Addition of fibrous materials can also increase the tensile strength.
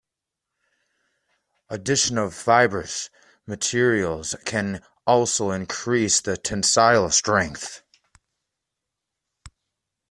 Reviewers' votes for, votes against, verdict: 2, 0, accepted